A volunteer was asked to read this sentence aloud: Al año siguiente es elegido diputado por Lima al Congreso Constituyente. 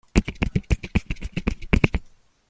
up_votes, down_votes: 0, 2